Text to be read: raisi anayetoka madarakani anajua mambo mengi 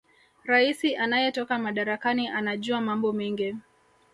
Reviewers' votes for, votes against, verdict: 1, 2, rejected